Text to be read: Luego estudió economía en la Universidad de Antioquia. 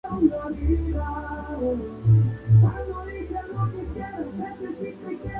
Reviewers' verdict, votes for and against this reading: rejected, 0, 4